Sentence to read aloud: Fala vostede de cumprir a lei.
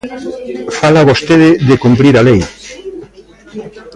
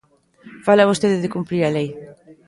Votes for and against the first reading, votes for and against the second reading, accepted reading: 2, 0, 0, 2, first